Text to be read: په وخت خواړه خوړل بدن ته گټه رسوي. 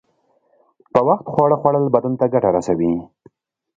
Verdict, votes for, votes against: accepted, 2, 0